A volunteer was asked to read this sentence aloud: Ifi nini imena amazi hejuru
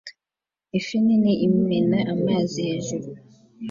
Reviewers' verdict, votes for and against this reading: accepted, 2, 0